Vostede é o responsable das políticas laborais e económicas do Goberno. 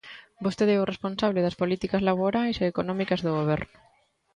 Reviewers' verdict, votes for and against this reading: accepted, 2, 0